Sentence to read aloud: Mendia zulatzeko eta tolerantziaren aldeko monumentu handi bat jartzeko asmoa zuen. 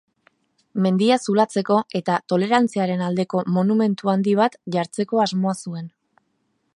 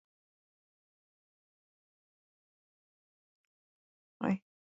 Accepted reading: first